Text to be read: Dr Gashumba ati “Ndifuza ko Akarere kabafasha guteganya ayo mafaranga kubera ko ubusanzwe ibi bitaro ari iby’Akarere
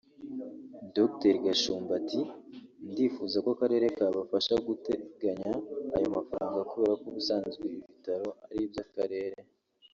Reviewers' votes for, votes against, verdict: 3, 0, accepted